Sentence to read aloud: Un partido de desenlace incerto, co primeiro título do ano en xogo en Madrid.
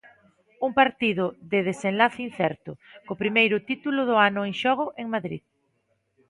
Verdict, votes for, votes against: accepted, 2, 0